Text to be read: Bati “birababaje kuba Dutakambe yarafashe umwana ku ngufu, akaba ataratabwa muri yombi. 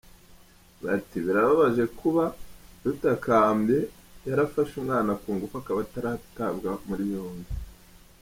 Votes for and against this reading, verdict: 2, 0, accepted